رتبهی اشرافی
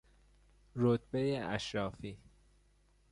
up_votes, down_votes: 2, 0